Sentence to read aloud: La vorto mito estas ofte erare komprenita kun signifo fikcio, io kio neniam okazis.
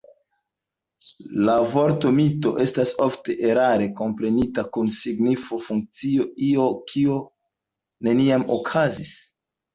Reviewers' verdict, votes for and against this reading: rejected, 1, 2